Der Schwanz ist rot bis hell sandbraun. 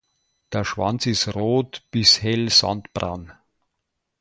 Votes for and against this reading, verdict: 2, 0, accepted